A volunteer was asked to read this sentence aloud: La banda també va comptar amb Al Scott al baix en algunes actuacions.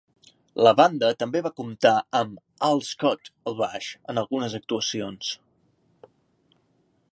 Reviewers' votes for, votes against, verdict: 2, 0, accepted